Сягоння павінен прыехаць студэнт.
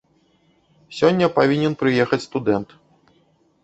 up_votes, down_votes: 1, 2